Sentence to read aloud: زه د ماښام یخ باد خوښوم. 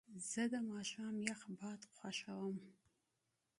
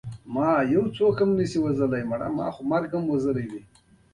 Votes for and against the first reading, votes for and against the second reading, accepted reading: 2, 0, 1, 2, first